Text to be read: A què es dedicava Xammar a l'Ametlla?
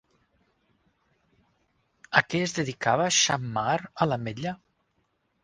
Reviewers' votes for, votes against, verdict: 4, 0, accepted